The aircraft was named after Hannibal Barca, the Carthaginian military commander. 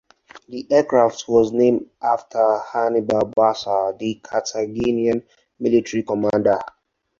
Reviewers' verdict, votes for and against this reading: rejected, 0, 4